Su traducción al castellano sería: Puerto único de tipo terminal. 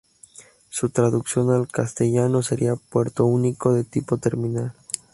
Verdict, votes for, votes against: accepted, 2, 0